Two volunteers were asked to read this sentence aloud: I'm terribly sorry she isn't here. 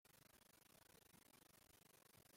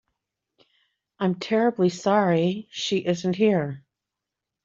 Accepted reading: second